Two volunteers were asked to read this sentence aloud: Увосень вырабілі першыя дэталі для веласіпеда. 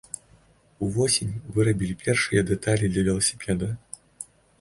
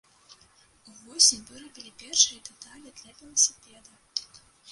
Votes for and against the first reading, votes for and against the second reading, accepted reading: 2, 0, 0, 2, first